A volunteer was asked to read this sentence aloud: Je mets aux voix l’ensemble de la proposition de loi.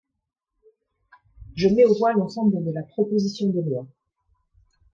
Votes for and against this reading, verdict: 2, 0, accepted